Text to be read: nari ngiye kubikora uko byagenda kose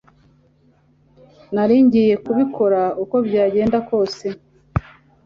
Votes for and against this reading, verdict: 3, 0, accepted